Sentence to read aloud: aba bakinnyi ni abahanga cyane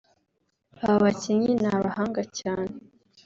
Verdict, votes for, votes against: accepted, 2, 0